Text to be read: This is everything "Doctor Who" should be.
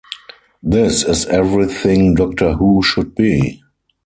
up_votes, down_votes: 4, 0